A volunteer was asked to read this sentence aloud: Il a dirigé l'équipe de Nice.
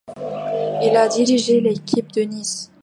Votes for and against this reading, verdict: 2, 1, accepted